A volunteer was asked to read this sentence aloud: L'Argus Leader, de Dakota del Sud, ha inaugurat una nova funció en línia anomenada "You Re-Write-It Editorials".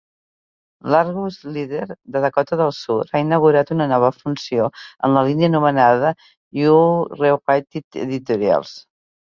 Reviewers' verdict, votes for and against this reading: accepted, 3, 2